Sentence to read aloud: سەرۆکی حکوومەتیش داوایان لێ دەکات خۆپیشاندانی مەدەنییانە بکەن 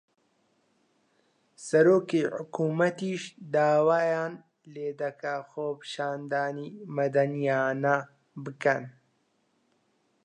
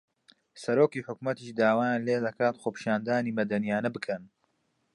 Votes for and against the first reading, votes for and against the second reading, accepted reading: 0, 2, 2, 0, second